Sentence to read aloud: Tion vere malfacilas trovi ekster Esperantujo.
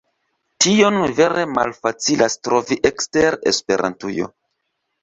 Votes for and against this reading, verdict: 3, 1, accepted